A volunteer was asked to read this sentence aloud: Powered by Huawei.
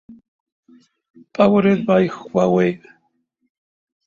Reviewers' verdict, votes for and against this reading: accepted, 2, 0